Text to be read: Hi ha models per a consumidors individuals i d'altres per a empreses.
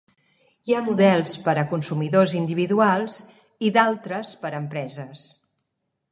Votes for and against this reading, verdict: 3, 0, accepted